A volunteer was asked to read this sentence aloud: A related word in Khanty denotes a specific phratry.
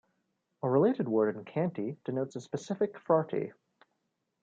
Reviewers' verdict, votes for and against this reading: rejected, 1, 2